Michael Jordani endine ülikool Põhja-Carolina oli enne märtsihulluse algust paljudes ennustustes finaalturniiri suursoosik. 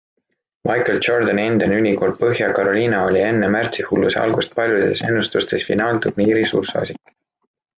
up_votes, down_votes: 2, 1